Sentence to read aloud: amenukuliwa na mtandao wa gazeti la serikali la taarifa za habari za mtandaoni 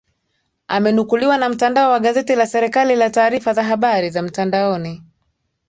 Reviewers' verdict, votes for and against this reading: accepted, 2, 1